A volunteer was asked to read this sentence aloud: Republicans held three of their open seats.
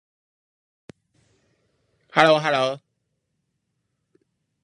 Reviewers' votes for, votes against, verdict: 0, 2, rejected